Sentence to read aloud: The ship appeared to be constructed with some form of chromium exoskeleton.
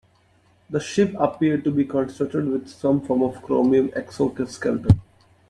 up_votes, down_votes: 0, 2